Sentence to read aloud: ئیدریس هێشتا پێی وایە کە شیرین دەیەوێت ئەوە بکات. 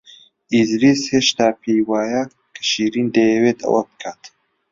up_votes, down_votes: 2, 0